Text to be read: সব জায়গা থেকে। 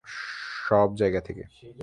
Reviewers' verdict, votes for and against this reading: rejected, 0, 3